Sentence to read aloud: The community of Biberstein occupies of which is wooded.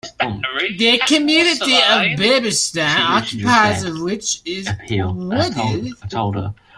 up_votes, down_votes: 0, 2